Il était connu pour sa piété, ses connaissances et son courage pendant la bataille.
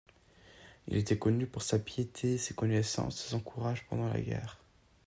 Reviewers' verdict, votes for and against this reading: rejected, 1, 2